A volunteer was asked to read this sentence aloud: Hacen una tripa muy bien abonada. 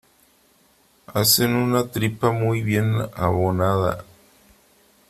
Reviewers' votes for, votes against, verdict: 3, 0, accepted